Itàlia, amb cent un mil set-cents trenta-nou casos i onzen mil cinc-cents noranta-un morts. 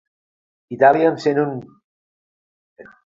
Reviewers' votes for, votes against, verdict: 0, 3, rejected